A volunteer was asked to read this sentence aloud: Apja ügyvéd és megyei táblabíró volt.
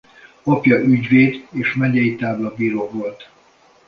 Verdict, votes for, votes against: accepted, 2, 0